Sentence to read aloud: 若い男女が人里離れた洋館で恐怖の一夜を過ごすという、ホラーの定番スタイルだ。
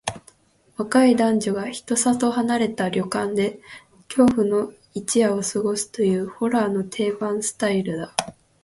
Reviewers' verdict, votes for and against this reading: rejected, 2, 4